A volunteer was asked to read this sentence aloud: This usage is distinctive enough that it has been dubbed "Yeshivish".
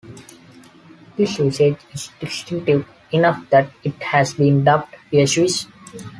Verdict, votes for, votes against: accepted, 2, 0